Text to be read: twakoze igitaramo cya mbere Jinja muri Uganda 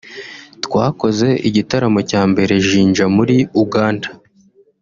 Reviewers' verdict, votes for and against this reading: accepted, 3, 0